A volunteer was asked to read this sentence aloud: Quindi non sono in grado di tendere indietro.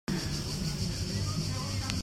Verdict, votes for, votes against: rejected, 0, 2